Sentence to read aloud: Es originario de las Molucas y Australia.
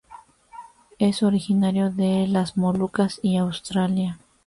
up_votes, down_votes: 2, 0